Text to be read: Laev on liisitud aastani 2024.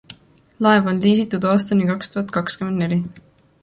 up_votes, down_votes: 0, 2